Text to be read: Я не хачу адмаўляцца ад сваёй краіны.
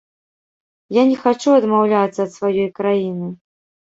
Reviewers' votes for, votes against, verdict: 2, 1, accepted